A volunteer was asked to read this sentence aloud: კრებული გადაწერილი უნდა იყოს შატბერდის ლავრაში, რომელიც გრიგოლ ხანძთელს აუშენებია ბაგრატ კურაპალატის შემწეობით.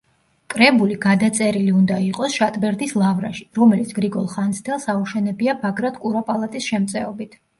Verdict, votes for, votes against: accepted, 2, 1